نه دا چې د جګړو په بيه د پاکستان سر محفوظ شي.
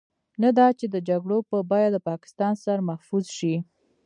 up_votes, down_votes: 2, 1